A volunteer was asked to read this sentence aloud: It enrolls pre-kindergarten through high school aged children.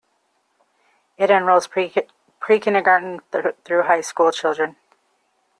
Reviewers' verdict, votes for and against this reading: rejected, 0, 2